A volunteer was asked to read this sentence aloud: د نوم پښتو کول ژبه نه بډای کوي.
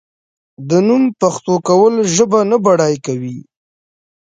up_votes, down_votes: 2, 0